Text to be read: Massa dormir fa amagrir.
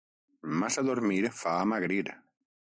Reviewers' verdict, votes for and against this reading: accepted, 6, 0